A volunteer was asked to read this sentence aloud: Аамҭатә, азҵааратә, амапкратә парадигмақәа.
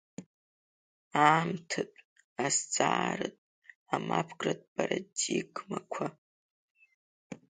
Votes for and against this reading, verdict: 1, 2, rejected